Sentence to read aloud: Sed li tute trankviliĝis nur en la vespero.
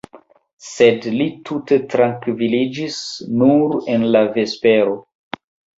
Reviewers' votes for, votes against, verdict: 1, 2, rejected